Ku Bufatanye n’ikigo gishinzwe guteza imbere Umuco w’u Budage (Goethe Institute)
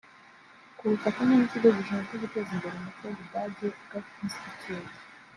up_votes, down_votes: 1, 2